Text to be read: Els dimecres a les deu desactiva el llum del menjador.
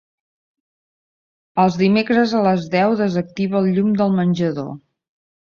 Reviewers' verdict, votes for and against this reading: accepted, 2, 0